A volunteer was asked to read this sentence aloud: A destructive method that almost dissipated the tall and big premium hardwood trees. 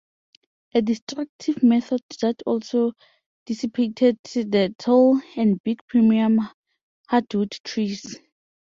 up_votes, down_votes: 0, 2